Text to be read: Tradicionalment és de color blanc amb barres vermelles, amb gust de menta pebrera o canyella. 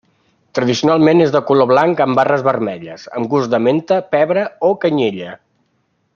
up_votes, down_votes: 0, 2